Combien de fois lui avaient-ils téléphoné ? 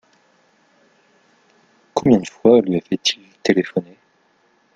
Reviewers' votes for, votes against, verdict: 1, 2, rejected